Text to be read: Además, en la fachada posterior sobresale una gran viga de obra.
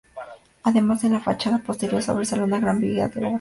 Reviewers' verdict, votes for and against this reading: rejected, 0, 2